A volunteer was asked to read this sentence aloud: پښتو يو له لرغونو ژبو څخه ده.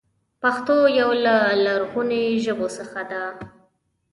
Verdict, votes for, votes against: accepted, 2, 0